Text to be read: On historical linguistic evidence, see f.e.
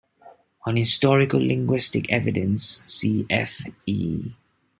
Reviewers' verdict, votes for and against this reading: accepted, 2, 1